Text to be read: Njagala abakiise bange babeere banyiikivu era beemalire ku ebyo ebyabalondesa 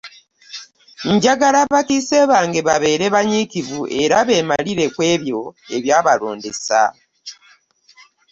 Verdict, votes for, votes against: accepted, 2, 1